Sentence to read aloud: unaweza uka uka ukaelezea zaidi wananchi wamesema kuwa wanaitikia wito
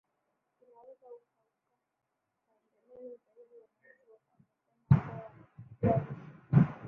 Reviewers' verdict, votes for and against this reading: rejected, 0, 5